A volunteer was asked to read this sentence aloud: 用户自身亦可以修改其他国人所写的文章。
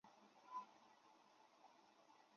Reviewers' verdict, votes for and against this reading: rejected, 0, 4